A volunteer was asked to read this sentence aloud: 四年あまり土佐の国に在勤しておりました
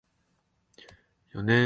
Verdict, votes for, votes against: rejected, 2, 4